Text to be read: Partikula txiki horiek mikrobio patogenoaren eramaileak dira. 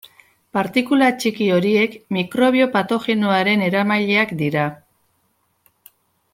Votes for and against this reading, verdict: 2, 0, accepted